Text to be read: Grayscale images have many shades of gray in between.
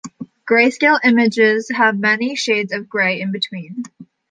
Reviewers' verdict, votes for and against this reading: accepted, 2, 0